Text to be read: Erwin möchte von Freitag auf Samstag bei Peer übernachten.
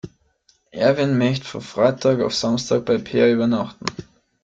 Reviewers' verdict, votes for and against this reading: rejected, 0, 2